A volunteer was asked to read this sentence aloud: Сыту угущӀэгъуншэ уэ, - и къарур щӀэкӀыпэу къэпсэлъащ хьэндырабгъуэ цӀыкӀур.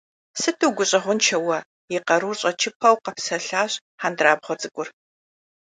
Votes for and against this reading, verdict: 2, 1, accepted